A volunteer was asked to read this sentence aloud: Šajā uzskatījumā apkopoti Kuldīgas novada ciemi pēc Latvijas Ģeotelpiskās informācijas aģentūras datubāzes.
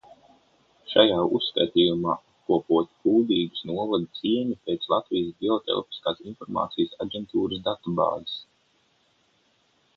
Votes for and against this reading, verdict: 6, 0, accepted